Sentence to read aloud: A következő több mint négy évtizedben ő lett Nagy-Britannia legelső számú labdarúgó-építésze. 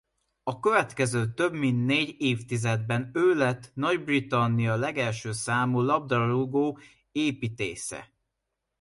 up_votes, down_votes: 2, 1